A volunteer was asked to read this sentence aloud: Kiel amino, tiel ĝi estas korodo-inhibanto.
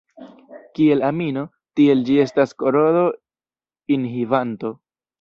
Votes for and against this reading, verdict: 2, 1, accepted